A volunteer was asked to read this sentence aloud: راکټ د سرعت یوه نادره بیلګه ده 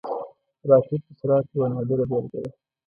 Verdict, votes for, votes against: rejected, 0, 2